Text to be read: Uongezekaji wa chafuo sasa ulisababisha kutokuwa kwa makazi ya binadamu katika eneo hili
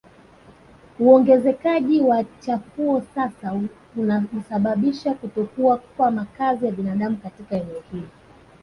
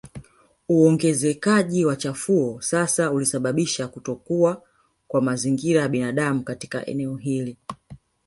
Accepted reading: first